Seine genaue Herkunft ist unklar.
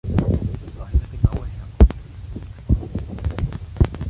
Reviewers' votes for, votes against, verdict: 1, 2, rejected